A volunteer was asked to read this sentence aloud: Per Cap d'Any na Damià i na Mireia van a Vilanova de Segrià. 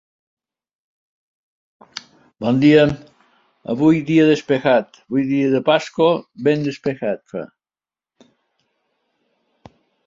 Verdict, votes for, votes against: rejected, 0, 2